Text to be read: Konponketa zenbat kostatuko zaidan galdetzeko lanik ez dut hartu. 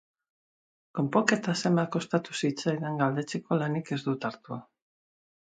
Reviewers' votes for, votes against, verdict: 0, 2, rejected